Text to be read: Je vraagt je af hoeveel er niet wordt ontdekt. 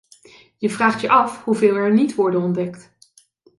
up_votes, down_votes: 0, 2